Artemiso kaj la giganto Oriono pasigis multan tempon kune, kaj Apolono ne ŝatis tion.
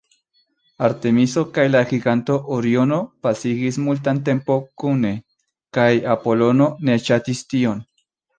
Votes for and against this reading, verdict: 1, 2, rejected